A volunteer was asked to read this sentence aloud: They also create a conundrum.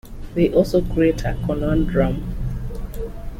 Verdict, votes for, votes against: accepted, 3, 0